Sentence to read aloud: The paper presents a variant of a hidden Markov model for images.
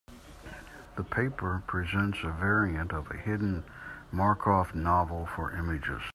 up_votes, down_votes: 0, 2